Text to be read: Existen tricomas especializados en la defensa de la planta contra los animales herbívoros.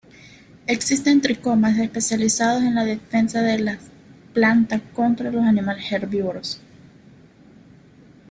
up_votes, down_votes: 1, 2